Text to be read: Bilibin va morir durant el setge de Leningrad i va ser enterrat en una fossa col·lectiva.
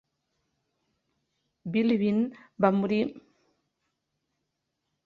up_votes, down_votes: 0, 2